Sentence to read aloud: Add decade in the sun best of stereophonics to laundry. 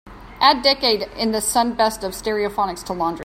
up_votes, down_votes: 2, 0